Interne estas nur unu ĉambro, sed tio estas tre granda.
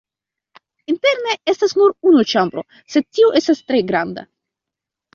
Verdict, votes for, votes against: accepted, 2, 0